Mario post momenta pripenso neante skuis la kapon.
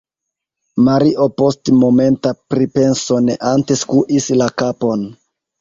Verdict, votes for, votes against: rejected, 0, 2